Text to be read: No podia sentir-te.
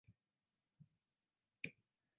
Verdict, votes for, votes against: rejected, 0, 2